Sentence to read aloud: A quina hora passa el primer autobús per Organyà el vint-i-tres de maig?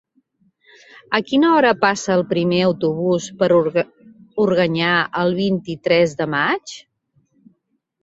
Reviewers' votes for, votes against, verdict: 1, 3, rejected